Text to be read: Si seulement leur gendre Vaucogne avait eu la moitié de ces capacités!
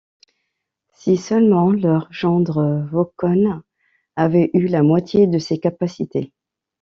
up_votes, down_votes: 0, 2